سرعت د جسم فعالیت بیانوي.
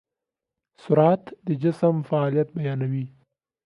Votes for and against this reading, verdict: 2, 0, accepted